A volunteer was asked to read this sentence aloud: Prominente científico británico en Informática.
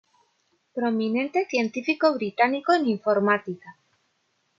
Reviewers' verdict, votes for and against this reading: accepted, 2, 0